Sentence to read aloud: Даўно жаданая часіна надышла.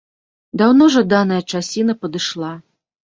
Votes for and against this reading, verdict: 0, 3, rejected